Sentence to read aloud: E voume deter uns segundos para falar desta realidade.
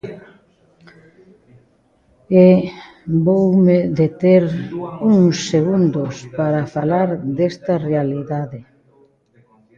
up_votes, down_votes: 1, 2